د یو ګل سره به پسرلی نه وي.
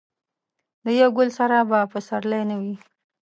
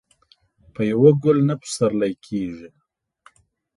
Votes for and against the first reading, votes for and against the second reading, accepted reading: 3, 0, 1, 2, first